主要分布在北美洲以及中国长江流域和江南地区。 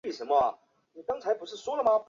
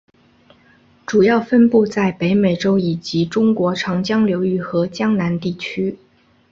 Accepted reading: second